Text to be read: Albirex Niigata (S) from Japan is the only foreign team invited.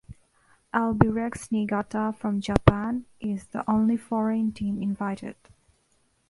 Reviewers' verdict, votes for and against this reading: rejected, 1, 2